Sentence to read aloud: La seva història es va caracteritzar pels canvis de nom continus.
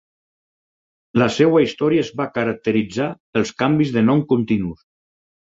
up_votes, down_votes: 0, 4